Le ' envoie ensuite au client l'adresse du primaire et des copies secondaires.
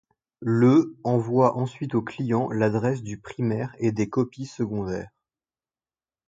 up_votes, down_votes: 0, 2